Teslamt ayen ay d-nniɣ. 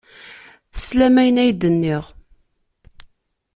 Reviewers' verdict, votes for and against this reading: rejected, 1, 2